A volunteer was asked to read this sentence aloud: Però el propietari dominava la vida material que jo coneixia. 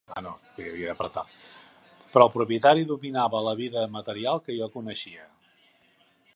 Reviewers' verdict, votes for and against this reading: rejected, 0, 2